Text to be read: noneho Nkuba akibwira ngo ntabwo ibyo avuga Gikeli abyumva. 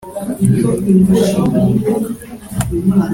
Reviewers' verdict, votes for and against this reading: rejected, 0, 2